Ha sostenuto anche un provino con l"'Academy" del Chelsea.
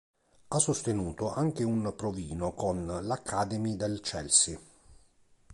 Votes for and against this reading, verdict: 2, 1, accepted